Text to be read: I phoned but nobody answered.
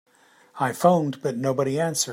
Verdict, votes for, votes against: rejected, 1, 2